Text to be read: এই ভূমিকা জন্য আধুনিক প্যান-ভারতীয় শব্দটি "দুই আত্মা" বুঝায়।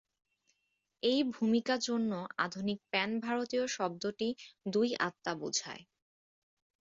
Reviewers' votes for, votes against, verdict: 2, 0, accepted